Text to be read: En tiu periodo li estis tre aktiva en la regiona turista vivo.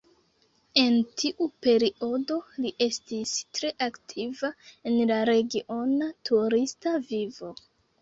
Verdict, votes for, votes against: rejected, 0, 2